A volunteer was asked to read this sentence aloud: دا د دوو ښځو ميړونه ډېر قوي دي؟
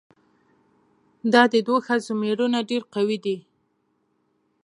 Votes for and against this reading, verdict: 0, 2, rejected